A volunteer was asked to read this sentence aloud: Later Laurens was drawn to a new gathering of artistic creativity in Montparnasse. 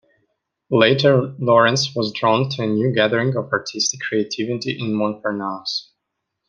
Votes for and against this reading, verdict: 2, 0, accepted